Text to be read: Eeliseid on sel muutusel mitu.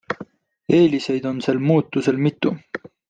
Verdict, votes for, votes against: accepted, 2, 0